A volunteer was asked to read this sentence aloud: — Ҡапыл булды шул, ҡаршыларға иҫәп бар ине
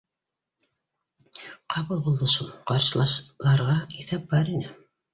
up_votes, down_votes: 1, 2